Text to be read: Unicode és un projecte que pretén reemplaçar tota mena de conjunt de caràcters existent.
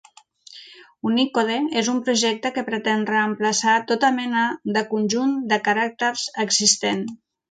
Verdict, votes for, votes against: accepted, 2, 0